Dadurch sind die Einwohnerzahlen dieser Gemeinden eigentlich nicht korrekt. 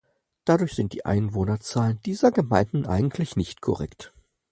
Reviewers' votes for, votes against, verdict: 4, 0, accepted